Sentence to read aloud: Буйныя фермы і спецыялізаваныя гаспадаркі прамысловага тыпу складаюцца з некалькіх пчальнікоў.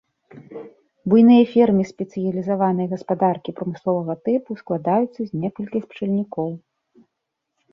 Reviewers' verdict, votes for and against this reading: accepted, 2, 0